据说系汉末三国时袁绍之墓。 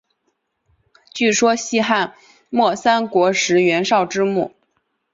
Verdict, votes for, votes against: accepted, 3, 1